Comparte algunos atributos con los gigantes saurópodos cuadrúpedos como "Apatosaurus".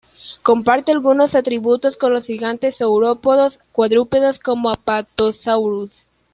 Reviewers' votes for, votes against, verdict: 1, 2, rejected